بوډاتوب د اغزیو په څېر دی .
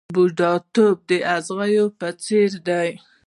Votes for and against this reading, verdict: 3, 0, accepted